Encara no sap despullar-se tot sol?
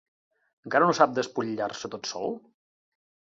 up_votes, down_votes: 1, 2